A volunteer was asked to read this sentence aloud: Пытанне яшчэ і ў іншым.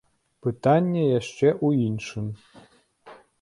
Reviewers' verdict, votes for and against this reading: rejected, 0, 2